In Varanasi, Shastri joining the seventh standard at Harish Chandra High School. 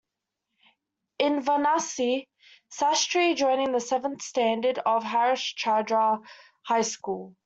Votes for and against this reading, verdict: 0, 2, rejected